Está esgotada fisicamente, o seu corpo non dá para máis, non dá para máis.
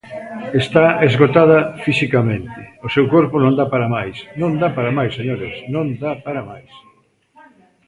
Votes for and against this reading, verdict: 0, 2, rejected